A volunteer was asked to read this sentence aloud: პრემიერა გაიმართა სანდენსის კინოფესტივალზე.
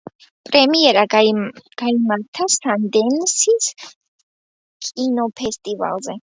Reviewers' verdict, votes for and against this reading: rejected, 0, 2